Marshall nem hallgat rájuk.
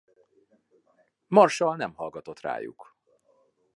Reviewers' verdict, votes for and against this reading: rejected, 0, 2